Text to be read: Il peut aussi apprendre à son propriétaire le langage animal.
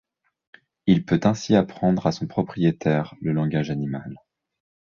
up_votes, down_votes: 0, 2